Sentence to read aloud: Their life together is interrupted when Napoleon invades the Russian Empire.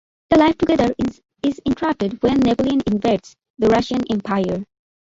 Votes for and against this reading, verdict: 0, 2, rejected